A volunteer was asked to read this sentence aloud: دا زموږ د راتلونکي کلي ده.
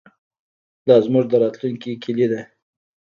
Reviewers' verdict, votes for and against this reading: rejected, 1, 2